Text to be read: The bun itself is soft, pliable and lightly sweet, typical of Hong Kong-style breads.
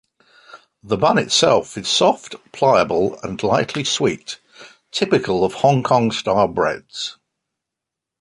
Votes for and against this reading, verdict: 2, 0, accepted